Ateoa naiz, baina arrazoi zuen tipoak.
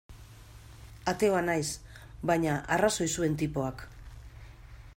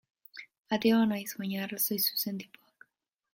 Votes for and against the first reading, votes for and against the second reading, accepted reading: 2, 0, 0, 2, first